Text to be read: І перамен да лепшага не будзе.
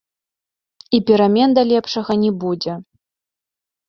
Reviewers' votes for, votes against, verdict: 0, 2, rejected